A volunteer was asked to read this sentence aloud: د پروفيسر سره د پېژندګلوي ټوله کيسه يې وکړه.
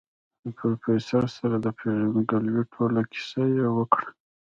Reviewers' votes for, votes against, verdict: 2, 0, accepted